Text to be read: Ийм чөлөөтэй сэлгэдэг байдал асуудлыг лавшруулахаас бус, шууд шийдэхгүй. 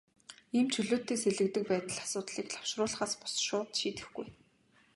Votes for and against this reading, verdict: 2, 0, accepted